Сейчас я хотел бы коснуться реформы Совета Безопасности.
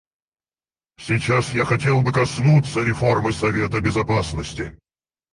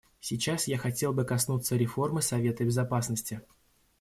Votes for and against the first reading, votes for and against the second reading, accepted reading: 2, 4, 2, 0, second